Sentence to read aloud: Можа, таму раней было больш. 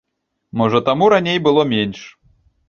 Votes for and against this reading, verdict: 0, 2, rejected